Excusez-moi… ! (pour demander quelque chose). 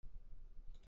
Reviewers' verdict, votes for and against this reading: rejected, 0, 2